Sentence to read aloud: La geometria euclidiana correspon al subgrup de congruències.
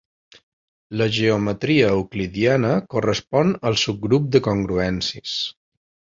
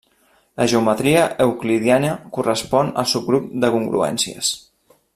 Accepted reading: first